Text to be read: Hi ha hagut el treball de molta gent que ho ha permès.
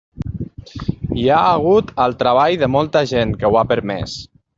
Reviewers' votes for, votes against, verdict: 3, 0, accepted